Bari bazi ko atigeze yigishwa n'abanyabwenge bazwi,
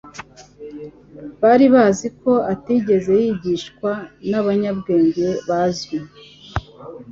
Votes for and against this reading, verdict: 3, 0, accepted